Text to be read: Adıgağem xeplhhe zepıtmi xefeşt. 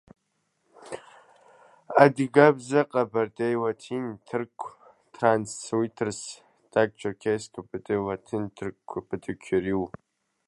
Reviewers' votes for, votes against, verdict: 0, 2, rejected